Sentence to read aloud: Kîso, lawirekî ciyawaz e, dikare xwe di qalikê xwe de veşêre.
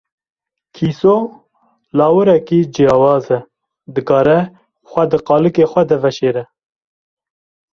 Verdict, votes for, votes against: accepted, 2, 0